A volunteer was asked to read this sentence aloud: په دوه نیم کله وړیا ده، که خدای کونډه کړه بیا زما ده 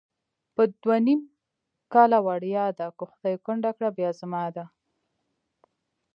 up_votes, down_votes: 2, 0